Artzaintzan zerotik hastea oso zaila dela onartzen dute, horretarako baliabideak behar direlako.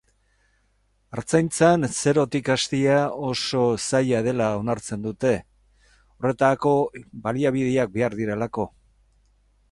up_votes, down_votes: 2, 2